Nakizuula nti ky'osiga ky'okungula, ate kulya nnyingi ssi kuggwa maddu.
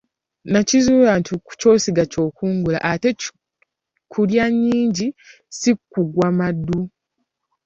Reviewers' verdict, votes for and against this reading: accepted, 2, 1